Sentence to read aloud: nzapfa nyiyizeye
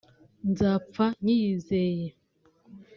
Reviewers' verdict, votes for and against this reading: accepted, 3, 0